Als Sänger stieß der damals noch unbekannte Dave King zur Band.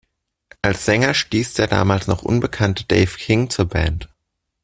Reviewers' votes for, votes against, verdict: 2, 0, accepted